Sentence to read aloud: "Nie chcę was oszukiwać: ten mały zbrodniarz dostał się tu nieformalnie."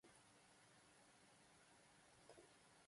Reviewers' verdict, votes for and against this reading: rejected, 0, 2